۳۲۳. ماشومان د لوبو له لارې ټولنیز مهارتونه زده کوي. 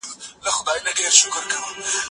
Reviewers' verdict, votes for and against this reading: rejected, 0, 2